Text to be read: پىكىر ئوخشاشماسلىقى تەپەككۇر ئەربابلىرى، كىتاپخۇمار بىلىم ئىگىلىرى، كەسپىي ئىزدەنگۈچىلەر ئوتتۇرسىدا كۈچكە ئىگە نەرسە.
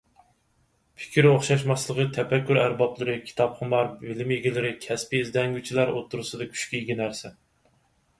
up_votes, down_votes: 4, 2